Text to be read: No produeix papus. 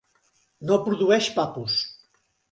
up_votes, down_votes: 2, 0